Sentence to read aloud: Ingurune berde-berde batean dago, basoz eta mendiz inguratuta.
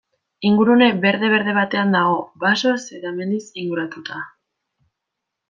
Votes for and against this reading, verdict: 2, 0, accepted